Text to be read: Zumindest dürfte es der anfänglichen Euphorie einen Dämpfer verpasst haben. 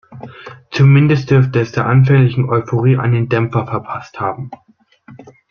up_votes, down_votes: 2, 0